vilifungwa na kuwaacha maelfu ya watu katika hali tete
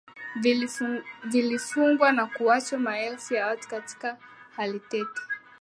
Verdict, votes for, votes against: accepted, 2, 0